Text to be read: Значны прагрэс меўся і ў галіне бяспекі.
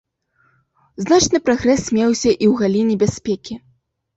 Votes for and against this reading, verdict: 0, 2, rejected